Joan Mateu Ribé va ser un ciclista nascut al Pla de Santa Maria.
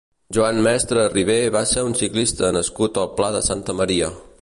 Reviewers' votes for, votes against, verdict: 1, 2, rejected